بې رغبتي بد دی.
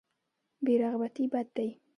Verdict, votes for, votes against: accepted, 2, 0